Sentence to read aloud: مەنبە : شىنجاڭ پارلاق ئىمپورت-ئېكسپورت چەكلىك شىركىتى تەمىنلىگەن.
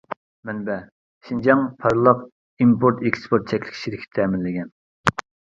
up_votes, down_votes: 0, 2